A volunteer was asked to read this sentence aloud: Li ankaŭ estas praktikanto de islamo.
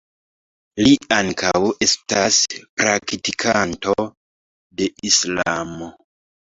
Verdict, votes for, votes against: rejected, 0, 2